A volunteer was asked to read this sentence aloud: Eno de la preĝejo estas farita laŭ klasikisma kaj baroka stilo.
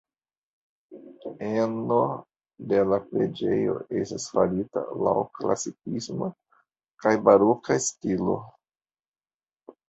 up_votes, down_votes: 2, 1